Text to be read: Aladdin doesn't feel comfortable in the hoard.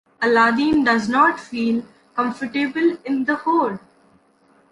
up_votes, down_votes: 1, 2